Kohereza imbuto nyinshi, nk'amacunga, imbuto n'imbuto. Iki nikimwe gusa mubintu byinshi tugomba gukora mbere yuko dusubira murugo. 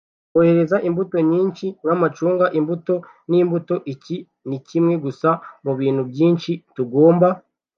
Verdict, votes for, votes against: rejected, 1, 2